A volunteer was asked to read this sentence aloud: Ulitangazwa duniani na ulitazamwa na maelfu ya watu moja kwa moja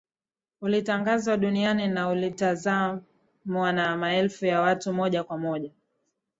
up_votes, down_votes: 2, 0